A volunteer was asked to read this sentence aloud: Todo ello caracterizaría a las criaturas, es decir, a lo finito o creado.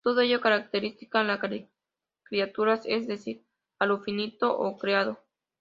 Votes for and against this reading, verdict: 0, 2, rejected